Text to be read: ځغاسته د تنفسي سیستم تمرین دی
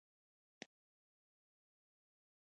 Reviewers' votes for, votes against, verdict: 1, 2, rejected